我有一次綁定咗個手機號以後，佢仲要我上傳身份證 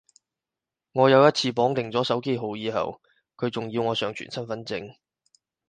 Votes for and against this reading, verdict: 0, 4, rejected